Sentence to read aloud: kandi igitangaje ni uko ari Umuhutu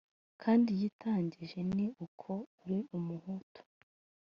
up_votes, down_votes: 0, 2